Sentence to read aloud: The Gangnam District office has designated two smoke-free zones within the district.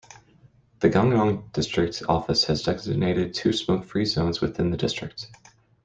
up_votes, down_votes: 2, 1